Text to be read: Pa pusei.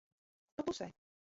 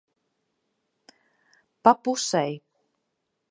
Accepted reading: second